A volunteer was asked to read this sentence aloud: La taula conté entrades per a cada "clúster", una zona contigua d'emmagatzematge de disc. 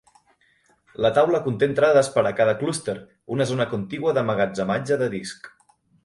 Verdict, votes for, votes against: accepted, 2, 0